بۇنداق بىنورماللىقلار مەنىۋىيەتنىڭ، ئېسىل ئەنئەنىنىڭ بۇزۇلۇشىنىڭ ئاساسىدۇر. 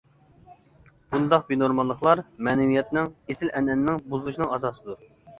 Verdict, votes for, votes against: accepted, 2, 0